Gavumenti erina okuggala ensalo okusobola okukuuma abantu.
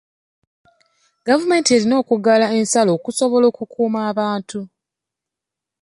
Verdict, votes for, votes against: accepted, 2, 0